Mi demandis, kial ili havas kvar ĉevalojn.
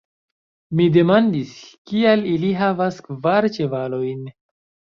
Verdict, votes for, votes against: accepted, 2, 1